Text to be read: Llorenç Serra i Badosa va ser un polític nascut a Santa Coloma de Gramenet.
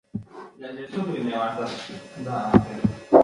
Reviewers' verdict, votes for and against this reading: rejected, 0, 2